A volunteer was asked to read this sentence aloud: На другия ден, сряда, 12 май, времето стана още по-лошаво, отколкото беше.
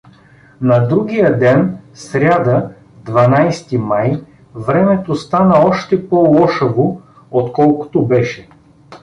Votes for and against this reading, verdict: 0, 2, rejected